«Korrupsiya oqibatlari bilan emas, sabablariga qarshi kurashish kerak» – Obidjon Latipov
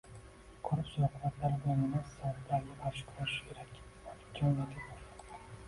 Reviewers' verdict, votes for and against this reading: rejected, 0, 2